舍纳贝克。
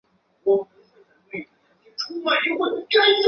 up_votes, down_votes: 1, 2